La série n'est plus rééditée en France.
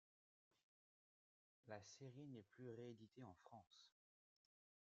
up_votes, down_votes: 2, 1